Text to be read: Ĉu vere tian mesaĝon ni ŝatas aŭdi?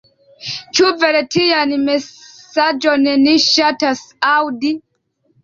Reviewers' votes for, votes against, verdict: 1, 2, rejected